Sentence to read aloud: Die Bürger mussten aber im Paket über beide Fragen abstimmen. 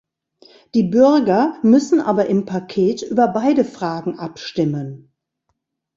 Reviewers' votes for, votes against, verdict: 1, 2, rejected